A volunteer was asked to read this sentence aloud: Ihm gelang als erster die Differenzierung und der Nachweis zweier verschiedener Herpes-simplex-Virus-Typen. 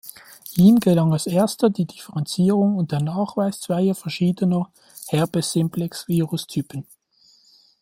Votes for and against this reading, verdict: 2, 1, accepted